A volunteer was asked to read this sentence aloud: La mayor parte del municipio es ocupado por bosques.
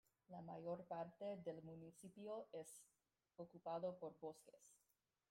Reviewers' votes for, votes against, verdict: 0, 2, rejected